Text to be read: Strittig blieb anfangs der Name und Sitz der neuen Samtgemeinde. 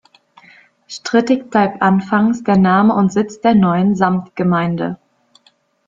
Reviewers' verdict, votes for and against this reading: rejected, 0, 2